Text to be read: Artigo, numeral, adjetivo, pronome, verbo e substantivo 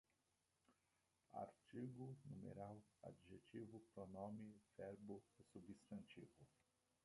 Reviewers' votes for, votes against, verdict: 0, 2, rejected